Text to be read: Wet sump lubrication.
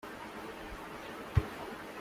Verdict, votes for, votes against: rejected, 0, 2